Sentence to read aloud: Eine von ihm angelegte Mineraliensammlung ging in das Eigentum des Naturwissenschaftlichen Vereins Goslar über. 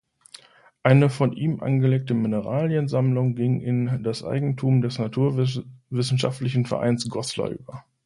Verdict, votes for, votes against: rejected, 0, 2